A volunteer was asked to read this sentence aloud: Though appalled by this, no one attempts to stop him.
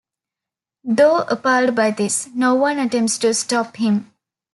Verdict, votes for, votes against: accepted, 2, 0